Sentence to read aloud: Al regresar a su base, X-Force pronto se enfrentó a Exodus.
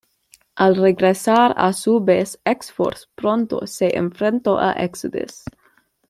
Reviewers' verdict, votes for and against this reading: accepted, 2, 1